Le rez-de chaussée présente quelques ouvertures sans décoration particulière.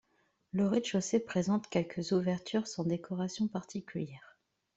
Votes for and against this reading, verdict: 2, 0, accepted